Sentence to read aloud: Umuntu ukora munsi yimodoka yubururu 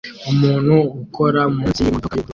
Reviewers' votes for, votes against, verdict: 0, 2, rejected